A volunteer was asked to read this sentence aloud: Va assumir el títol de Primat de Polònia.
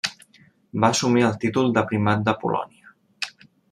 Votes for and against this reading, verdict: 3, 1, accepted